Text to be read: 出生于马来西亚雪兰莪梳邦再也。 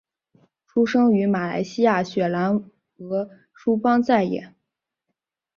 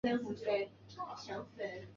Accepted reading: first